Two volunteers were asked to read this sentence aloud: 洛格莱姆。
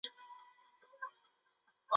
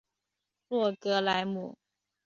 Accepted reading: second